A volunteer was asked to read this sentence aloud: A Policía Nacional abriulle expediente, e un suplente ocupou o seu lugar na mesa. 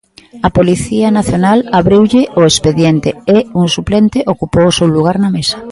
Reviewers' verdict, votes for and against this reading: rejected, 1, 2